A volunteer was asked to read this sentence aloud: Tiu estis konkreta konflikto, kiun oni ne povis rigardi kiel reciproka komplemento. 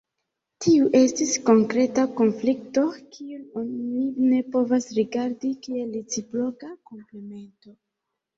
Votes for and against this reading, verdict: 0, 2, rejected